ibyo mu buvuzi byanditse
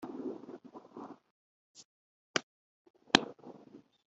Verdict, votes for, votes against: rejected, 3, 4